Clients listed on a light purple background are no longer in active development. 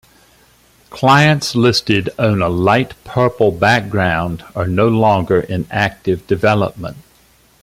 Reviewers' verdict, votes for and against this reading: accepted, 2, 0